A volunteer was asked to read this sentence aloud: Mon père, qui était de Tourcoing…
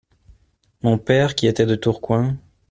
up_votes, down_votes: 2, 0